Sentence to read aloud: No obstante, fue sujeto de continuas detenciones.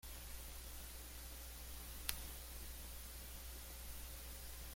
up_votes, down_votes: 0, 2